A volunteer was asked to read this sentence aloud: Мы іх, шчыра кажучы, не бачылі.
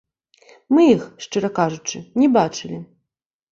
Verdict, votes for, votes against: rejected, 1, 2